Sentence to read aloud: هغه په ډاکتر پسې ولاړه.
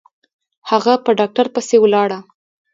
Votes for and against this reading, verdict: 1, 2, rejected